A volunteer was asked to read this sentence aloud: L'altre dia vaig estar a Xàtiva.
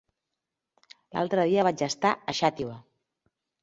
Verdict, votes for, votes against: accepted, 3, 0